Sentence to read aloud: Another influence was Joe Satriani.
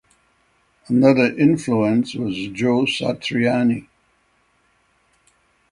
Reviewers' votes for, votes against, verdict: 6, 0, accepted